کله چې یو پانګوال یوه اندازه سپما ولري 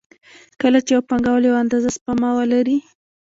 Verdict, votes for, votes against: rejected, 1, 2